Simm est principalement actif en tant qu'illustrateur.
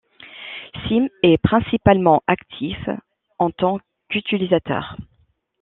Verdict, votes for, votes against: rejected, 0, 2